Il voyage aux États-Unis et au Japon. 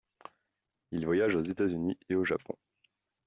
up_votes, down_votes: 2, 0